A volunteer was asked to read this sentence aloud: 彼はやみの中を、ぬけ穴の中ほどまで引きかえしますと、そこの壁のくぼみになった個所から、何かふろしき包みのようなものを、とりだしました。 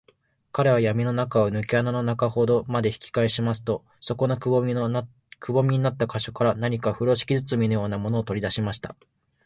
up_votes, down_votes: 0, 2